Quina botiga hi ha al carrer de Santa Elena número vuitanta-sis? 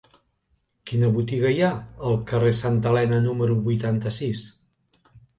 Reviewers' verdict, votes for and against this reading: rejected, 1, 2